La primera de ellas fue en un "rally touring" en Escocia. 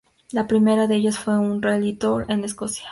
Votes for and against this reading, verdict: 2, 0, accepted